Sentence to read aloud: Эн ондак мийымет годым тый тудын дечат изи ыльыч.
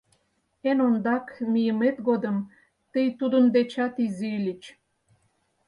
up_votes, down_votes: 4, 0